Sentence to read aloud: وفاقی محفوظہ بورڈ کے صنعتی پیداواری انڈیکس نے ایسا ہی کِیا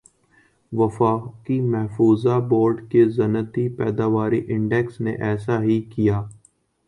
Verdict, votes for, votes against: accepted, 3, 0